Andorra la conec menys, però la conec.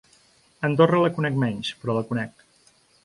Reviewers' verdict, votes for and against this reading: accepted, 2, 0